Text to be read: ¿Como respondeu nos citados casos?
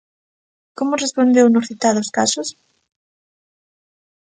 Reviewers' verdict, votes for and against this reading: accepted, 2, 0